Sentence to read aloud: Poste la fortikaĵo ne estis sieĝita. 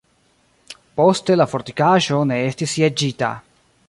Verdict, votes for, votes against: rejected, 1, 2